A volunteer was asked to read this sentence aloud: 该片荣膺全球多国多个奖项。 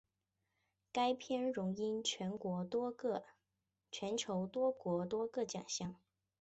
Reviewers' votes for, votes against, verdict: 2, 0, accepted